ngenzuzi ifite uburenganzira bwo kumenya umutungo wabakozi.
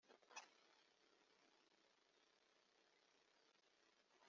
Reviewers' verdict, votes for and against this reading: rejected, 1, 2